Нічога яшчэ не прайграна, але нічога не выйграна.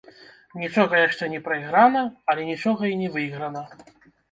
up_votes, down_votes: 0, 2